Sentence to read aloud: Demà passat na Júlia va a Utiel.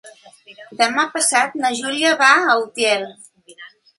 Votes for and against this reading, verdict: 3, 0, accepted